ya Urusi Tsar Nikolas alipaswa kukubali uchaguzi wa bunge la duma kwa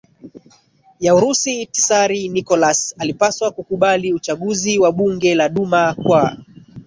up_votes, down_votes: 12, 7